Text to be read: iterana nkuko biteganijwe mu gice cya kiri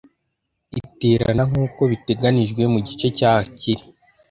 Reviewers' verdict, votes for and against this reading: accepted, 2, 0